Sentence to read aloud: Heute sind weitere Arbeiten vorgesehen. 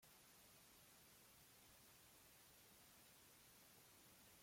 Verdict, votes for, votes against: rejected, 0, 2